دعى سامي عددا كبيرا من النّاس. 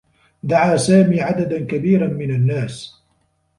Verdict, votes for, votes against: accepted, 2, 0